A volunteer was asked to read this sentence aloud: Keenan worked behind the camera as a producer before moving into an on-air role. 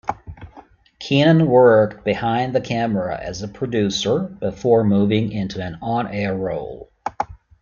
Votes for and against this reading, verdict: 1, 2, rejected